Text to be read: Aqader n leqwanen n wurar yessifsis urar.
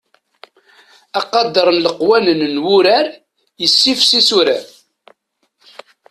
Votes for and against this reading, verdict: 2, 0, accepted